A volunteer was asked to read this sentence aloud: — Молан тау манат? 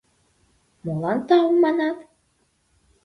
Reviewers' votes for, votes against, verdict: 2, 0, accepted